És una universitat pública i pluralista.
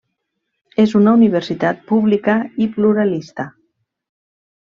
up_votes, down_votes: 3, 0